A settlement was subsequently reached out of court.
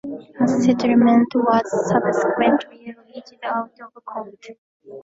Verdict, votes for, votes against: rejected, 1, 2